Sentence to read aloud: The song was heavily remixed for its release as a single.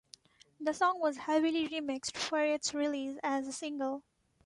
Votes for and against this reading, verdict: 2, 1, accepted